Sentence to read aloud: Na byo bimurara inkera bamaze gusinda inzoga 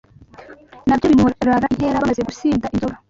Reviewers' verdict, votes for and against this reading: accepted, 2, 0